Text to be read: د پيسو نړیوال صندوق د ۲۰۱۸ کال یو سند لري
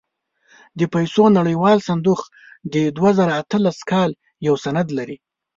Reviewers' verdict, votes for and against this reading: rejected, 0, 2